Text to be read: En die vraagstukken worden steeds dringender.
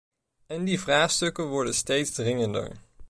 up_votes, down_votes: 2, 0